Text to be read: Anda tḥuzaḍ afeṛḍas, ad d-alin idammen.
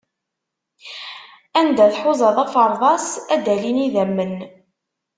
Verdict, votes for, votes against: accepted, 2, 0